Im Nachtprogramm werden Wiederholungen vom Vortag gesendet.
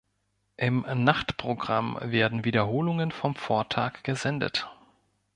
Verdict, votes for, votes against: accepted, 2, 0